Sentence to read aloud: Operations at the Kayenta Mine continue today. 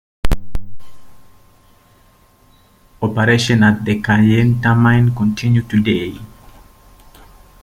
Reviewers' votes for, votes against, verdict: 2, 1, accepted